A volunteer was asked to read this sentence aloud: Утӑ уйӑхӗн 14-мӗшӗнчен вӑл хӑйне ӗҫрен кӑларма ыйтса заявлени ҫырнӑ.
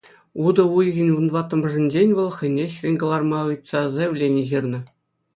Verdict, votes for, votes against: rejected, 0, 2